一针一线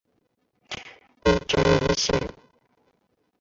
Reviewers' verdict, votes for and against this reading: rejected, 1, 2